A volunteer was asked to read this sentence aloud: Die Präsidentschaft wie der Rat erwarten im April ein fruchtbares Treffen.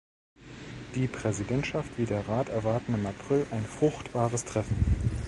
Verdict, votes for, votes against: accepted, 2, 0